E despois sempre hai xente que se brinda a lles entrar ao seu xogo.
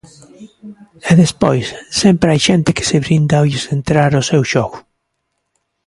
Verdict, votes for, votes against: accepted, 2, 0